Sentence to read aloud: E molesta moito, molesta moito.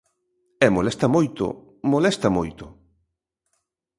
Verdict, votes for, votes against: accepted, 2, 0